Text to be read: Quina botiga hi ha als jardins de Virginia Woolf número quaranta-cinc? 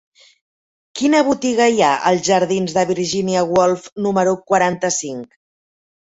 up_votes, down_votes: 2, 0